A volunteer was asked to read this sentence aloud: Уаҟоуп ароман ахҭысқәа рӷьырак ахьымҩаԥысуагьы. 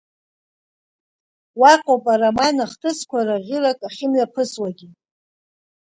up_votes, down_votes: 2, 0